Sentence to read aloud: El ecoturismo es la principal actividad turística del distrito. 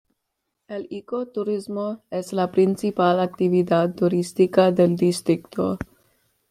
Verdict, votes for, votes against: accepted, 2, 1